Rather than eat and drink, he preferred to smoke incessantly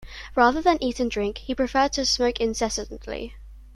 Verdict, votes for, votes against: accepted, 2, 0